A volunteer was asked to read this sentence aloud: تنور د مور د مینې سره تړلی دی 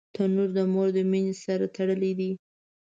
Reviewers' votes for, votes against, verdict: 2, 1, accepted